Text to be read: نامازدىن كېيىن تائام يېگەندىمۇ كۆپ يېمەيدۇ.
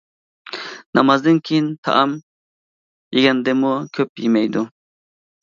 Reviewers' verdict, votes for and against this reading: accepted, 3, 0